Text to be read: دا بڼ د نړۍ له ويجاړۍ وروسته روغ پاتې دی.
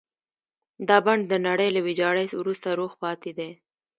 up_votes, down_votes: 1, 2